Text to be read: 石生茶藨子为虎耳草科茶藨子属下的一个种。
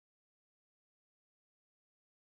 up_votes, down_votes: 0, 2